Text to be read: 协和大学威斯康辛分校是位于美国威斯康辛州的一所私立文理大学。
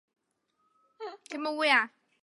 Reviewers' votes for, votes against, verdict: 1, 2, rejected